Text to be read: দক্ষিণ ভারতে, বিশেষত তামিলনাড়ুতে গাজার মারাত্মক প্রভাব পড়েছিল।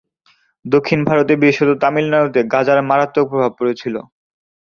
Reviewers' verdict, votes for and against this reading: accepted, 2, 0